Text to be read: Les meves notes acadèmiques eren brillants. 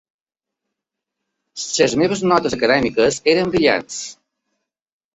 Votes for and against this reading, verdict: 2, 1, accepted